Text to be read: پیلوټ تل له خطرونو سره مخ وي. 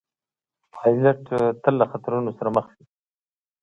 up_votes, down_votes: 2, 0